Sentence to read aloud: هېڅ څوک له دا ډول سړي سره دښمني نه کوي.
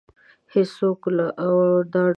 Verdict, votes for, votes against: rejected, 1, 2